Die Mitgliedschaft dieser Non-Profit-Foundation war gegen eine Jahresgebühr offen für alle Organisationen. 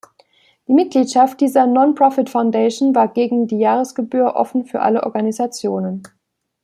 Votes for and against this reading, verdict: 0, 2, rejected